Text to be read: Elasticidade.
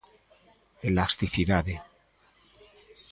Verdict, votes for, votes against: accepted, 2, 0